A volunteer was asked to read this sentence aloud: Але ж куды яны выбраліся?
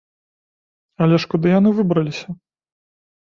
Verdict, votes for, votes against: accepted, 2, 0